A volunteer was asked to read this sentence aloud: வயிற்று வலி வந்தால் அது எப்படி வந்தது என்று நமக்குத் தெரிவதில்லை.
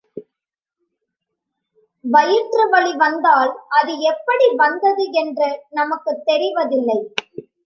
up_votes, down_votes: 2, 0